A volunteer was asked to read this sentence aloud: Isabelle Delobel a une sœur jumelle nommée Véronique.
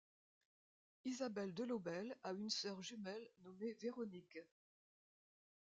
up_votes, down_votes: 2, 1